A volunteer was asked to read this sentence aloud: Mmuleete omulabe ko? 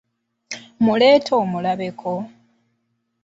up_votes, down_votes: 2, 0